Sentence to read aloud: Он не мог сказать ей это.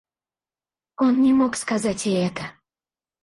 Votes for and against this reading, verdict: 2, 4, rejected